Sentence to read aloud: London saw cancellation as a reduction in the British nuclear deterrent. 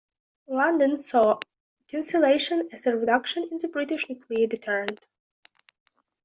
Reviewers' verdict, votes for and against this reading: accepted, 2, 0